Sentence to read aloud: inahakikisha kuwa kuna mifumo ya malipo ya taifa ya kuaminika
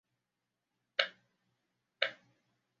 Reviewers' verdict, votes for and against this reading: rejected, 1, 3